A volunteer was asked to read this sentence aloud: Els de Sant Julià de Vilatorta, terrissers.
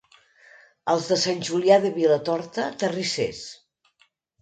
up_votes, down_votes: 2, 0